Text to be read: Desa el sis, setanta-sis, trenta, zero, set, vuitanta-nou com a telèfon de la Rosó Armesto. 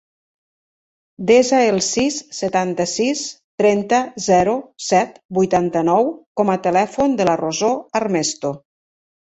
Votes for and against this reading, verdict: 5, 0, accepted